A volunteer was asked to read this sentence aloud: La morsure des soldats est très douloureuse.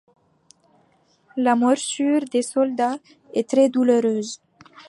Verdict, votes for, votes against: rejected, 0, 2